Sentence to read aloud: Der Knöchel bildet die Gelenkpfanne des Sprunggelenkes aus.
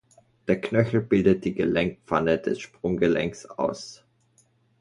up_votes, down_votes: 0, 2